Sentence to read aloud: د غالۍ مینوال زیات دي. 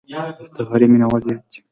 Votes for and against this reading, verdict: 1, 2, rejected